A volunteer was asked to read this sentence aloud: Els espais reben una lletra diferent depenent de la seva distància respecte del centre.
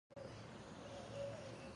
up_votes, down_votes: 0, 4